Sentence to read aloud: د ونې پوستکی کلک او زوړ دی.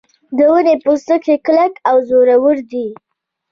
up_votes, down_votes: 0, 2